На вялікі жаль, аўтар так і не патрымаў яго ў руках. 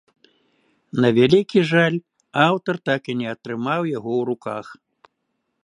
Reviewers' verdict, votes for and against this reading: rejected, 1, 2